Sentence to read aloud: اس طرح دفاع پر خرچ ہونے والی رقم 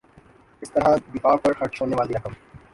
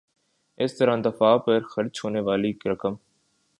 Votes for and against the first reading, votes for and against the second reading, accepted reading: 1, 2, 2, 0, second